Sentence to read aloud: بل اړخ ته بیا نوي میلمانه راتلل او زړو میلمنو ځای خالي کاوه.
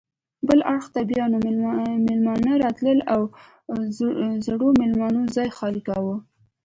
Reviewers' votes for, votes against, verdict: 2, 0, accepted